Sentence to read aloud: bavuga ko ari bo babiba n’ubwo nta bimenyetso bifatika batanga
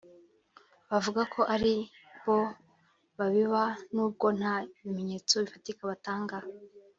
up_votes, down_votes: 1, 2